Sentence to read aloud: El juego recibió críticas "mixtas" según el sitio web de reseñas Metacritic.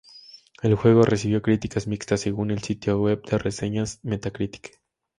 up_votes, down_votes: 2, 0